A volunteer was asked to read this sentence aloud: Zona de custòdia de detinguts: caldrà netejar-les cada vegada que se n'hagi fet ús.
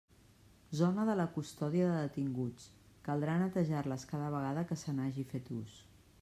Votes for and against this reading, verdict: 0, 2, rejected